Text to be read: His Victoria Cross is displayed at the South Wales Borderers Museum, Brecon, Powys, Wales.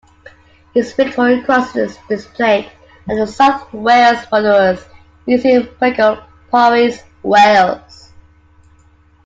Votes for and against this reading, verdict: 2, 1, accepted